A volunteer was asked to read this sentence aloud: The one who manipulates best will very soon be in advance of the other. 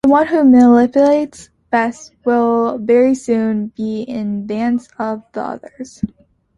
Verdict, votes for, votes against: rejected, 1, 2